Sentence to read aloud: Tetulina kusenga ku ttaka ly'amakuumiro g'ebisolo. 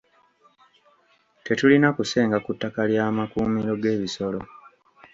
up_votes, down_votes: 1, 2